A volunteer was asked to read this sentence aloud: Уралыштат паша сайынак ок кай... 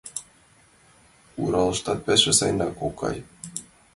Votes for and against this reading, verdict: 0, 2, rejected